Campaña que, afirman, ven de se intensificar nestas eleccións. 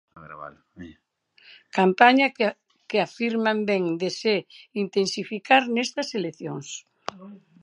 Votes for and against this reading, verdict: 0, 2, rejected